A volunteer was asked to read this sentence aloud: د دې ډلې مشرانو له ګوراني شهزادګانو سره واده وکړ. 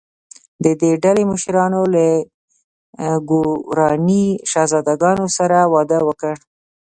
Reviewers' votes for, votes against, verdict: 0, 2, rejected